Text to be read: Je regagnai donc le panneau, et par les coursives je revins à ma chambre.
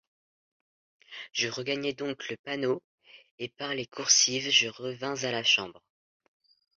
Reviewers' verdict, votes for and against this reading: rejected, 0, 2